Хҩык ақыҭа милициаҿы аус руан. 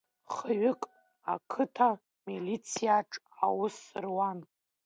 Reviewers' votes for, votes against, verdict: 2, 0, accepted